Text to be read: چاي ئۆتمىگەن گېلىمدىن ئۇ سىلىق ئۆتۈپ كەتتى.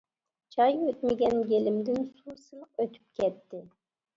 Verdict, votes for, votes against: rejected, 1, 2